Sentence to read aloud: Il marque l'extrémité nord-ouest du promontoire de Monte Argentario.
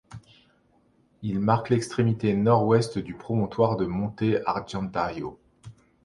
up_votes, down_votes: 2, 0